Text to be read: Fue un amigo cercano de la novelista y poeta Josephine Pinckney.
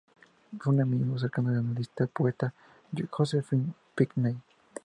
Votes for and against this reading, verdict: 0, 2, rejected